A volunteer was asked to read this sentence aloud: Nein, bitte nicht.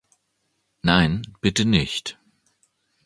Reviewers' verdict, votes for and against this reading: accepted, 2, 0